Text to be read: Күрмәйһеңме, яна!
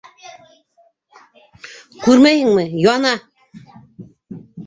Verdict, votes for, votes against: rejected, 0, 2